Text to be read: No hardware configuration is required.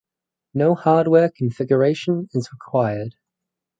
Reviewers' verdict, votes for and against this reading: accepted, 6, 0